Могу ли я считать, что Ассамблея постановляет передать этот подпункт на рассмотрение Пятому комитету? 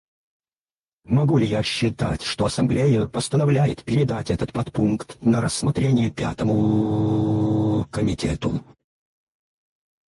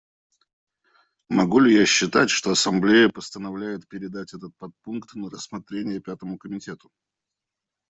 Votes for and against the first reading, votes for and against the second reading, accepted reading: 0, 4, 2, 0, second